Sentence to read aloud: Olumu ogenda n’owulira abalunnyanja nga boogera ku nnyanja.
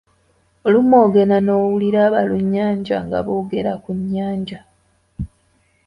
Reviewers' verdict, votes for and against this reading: accepted, 2, 0